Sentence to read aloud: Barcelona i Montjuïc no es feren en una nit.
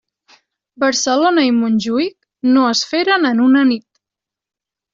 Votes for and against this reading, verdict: 3, 0, accepted